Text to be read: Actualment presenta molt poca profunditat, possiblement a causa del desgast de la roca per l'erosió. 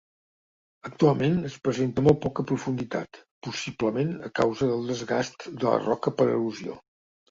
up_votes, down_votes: 0, 2